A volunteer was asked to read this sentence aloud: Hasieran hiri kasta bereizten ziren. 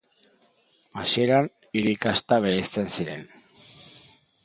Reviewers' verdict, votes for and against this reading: accepted, 2, 0